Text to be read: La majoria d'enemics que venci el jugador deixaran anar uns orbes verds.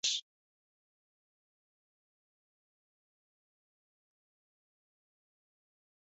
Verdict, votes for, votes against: rejected, 0, 3